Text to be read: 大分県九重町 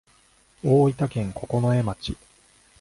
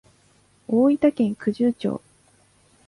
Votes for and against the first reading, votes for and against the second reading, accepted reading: 2, 0, 0, 2, first